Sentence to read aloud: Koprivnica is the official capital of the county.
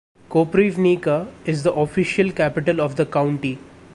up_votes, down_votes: 2, 0